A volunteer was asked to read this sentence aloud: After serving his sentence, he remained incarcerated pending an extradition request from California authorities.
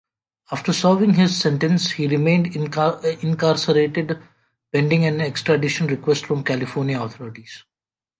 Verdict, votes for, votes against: rejected, 1, 2